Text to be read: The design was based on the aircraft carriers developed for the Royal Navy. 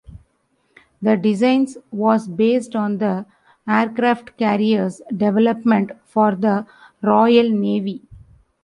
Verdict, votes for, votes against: rejected, 0, 2